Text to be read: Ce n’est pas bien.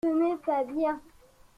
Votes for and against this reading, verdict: 2, 0, accepted